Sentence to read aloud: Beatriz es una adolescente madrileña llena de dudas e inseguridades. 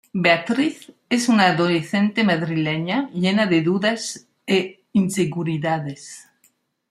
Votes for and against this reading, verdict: 2, 0, accepted